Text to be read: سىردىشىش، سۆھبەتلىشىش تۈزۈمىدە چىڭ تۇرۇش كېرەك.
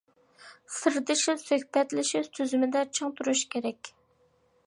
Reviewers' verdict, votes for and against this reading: accepted, 2, 1